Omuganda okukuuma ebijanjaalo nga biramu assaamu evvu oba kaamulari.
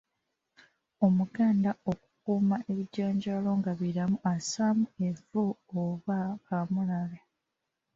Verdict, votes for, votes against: accepted, 2, 0